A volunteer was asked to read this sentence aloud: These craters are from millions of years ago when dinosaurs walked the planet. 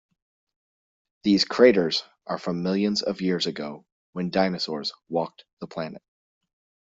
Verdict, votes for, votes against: accepted, 2, 0